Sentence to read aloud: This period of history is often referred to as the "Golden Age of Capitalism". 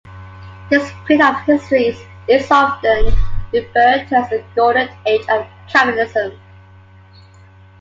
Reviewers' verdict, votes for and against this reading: rejected, 0, 2